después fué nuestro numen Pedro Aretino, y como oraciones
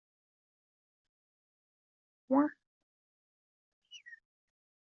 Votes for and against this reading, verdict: 0, 2, rejected